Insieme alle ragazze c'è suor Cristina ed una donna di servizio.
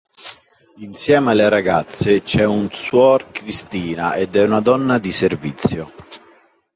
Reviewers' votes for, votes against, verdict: 1, 2, rejected